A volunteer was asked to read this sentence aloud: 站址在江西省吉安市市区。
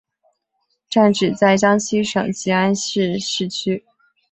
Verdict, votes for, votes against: rejected, 1, 2